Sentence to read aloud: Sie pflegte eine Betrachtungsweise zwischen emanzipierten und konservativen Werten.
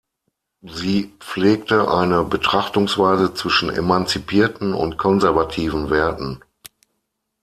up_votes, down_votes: 6, 0